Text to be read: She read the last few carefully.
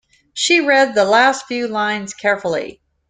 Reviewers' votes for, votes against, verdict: 1, 2, rejected